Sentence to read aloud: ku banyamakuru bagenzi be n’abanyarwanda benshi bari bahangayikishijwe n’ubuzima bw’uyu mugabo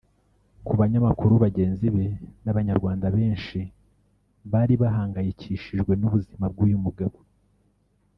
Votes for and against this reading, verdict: 1, 2, rejected